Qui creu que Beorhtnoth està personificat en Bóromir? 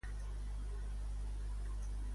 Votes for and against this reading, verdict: 1, 2, rejected